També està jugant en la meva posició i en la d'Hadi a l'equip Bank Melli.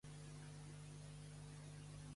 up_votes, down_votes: 0, 2